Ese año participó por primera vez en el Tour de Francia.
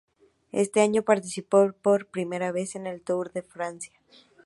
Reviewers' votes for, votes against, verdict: 0, 2, rejected